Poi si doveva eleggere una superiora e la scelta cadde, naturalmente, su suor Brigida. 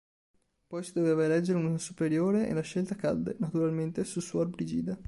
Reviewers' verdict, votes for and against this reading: rejected, 1, 2